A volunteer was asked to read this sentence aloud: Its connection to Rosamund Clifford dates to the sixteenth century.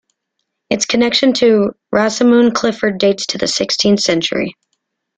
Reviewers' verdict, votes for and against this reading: accepted, 2, 0